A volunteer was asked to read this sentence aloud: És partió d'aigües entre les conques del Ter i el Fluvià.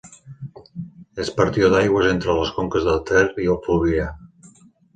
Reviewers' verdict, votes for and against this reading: accepted, 3, 0